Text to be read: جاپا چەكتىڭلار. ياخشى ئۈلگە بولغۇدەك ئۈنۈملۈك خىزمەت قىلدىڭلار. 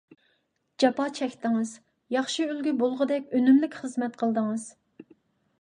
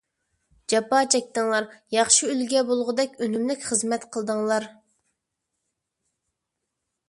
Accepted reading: second